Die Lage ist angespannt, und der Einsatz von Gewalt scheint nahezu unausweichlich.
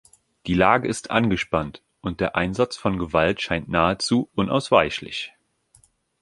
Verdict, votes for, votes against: accepted, 2, 0